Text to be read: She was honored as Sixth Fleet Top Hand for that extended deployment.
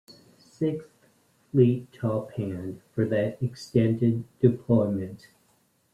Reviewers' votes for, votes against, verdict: 0, 2, rejected